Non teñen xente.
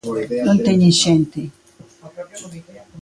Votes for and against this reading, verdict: 1, 2, rejected